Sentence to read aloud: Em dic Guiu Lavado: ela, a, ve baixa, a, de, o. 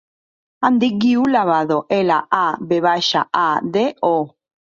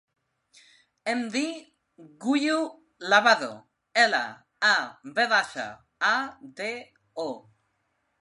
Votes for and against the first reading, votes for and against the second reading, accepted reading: 3, 0, 0, 2, first